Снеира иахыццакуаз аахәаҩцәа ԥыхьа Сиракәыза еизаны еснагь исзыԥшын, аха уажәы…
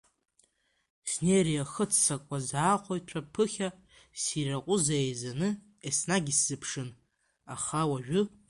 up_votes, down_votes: 2, 0